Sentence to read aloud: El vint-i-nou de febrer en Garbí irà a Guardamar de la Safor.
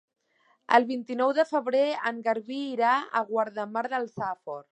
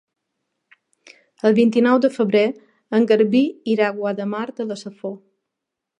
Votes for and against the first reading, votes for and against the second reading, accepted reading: 0, 2, 2, 0, second